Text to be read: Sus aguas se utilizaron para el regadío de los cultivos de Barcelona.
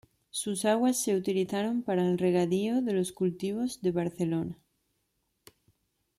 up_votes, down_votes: 2, 0